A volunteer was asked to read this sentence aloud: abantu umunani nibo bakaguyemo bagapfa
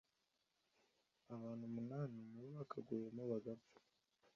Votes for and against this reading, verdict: 2, 0, accepted